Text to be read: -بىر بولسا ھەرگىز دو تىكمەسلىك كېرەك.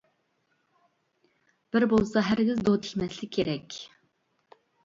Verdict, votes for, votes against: rejected, 1, 2